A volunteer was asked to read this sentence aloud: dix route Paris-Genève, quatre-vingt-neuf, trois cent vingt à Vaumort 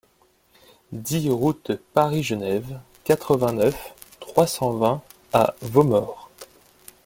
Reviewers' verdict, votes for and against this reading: rejected, 1, 2